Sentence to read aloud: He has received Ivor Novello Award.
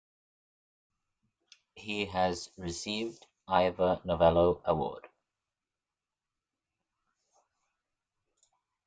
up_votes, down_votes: 2, 0